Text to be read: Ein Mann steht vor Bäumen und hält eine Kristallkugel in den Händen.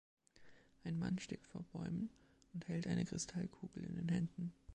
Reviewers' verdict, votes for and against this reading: accepted, 2, 0